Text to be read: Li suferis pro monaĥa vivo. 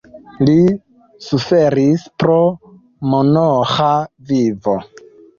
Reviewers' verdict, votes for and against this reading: accepted, 2, 0